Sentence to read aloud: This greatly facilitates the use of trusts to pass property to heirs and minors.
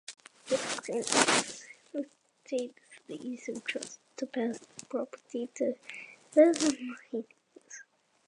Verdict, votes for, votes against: rejected, 0, 2